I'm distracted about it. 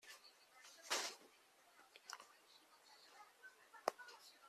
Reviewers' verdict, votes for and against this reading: rejected, 0, 2